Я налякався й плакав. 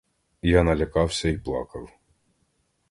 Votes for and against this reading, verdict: 2, 0, accepted